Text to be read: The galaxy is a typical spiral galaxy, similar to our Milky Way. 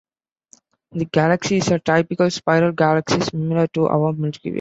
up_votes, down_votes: 1, 2